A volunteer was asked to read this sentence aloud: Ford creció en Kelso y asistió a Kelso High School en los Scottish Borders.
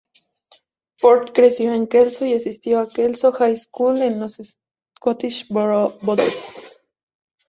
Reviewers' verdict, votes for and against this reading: rejected, 0, 2